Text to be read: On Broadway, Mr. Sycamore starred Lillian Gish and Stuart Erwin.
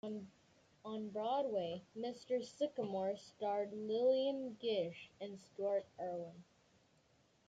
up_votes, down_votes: 1, 2